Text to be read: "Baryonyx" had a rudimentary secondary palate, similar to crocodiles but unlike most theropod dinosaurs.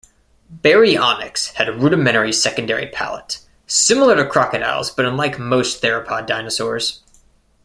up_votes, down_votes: 2, 0